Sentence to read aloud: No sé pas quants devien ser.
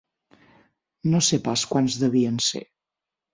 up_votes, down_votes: 9, 0